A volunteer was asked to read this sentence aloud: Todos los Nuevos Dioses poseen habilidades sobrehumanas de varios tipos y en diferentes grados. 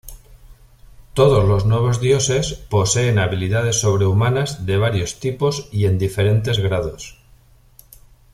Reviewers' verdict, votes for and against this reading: accepted, 2, 0